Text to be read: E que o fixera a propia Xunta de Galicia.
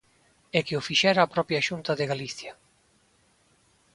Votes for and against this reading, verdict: 2, 0, accepted